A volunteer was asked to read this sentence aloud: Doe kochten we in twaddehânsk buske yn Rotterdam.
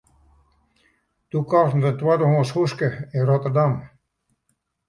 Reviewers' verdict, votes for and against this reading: rejected, 0, 2